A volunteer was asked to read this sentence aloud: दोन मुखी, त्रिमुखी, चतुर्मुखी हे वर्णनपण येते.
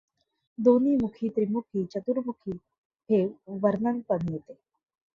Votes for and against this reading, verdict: 1, 2, rejected